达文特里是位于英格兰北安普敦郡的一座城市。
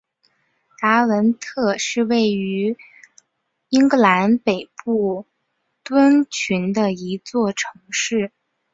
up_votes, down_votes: 1, 2